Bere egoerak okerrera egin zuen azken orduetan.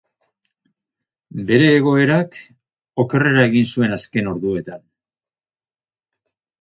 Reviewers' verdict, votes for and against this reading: accepted, 4, 0